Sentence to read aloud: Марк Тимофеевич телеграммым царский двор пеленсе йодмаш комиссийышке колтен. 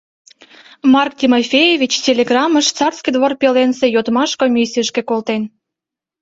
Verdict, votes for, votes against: rejected, 0, 2